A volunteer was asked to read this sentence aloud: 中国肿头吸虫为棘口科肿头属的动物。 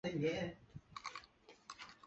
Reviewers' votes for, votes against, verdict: 0, 2, rejected